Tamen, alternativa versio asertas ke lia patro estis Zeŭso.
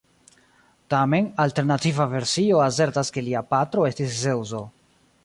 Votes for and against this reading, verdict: 1, 2, rejected